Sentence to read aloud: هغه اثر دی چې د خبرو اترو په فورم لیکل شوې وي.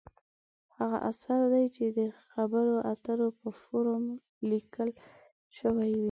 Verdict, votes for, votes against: rejected, 0, 2